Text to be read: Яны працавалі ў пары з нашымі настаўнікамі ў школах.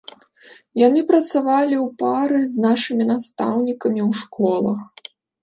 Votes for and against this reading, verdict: 2, 0, accepted